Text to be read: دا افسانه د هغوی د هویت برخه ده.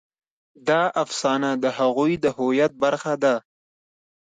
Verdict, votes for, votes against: accepted, 2, 0